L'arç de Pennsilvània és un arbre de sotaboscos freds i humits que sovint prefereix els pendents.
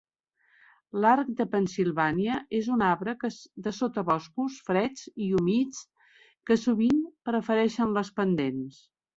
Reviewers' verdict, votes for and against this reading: rejected, 1, 2